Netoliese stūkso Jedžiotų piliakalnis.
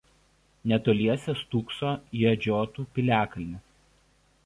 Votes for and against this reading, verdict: 1, 2, rejected